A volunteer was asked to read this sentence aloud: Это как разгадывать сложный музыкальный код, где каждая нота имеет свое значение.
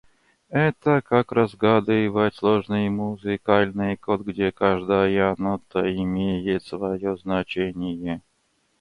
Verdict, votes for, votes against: rejected, 0, 2